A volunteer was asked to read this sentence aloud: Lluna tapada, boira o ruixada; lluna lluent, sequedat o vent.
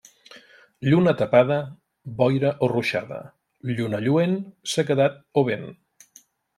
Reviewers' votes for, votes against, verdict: 2, 0, accepted